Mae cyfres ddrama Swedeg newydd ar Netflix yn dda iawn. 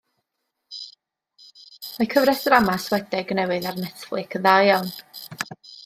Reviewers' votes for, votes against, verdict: 2, 1, accepted